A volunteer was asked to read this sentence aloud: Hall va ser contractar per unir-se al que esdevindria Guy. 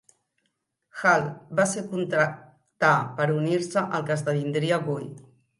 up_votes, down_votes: 2, 0